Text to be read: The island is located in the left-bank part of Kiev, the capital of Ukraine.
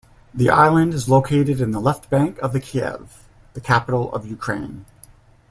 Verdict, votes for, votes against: rejected, 1, 2